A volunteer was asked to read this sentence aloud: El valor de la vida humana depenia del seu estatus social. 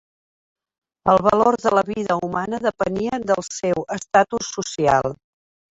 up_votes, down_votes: 1, 2